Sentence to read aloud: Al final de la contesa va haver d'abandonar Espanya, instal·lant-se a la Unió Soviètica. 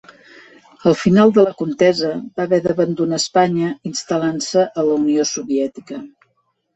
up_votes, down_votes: 2, 1